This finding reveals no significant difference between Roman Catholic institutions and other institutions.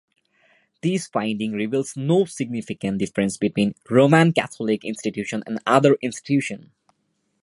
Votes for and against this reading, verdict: 2, 1, accepted